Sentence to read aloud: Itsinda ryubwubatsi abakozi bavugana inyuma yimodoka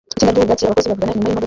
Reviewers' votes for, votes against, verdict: 0, 2, rejected